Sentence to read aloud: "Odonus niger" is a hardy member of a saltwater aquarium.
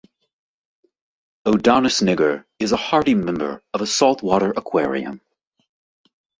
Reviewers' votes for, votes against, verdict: 0, 2, rejected